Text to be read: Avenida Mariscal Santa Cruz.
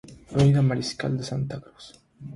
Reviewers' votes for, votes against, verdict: 3, 3, rejected